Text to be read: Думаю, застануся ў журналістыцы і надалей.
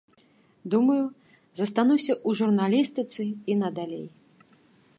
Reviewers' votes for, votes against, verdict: 2, 1, accepted